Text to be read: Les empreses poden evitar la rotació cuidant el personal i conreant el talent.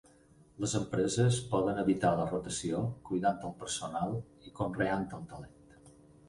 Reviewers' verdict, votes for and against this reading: accepted, 4, 0